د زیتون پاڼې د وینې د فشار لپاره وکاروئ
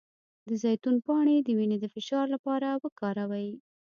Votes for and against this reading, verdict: 1, 2, rejected